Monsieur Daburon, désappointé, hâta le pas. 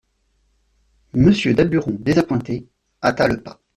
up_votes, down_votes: 2, 0